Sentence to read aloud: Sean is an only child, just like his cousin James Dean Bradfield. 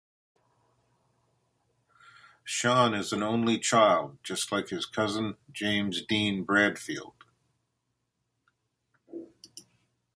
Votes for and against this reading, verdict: 2, 0, accepted